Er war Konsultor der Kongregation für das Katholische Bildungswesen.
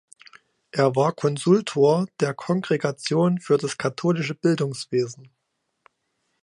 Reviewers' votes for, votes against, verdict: 3, 0, accepted